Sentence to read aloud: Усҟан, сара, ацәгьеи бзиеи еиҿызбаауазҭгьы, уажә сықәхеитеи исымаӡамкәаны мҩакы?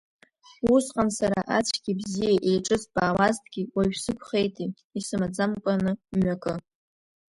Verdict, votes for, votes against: rejected, 0, 2